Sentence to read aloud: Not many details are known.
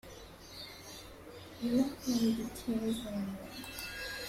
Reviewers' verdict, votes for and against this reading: rejected, 0, 2